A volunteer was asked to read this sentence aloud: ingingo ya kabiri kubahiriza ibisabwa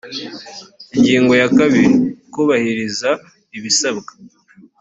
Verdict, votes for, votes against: accepted, 2, 0